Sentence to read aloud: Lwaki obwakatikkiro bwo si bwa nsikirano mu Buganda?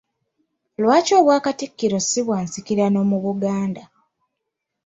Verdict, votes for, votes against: rejected, 1, 2